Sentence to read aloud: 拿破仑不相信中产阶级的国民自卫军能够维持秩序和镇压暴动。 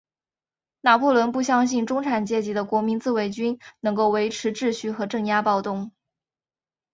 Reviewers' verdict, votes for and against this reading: accepted, 2, 0